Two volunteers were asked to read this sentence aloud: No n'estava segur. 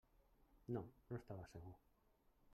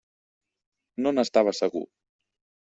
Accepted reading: second